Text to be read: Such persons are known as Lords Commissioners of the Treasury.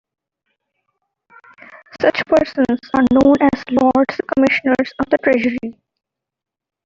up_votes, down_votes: 0, 2